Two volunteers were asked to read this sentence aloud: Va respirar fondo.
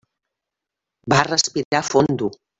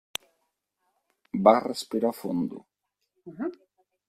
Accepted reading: second